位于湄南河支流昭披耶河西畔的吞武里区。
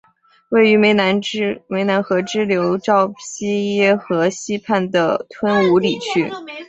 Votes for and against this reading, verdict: 0, 2, rejected